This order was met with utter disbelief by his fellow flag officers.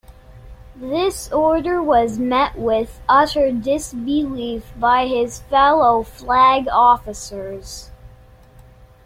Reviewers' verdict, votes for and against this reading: accepted, 2, 0